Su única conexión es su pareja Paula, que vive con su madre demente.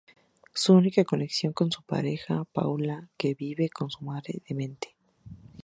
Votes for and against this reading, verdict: 0, 2, rejected